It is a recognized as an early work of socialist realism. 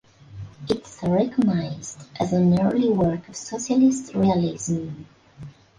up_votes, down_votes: 0, 2